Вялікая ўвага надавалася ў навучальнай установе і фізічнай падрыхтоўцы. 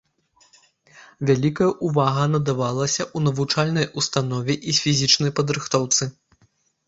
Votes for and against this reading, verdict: 1, 2, rejected